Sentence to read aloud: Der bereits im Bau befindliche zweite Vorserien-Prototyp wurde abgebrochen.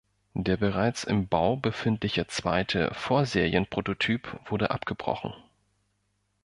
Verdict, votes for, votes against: accepted, 2, 0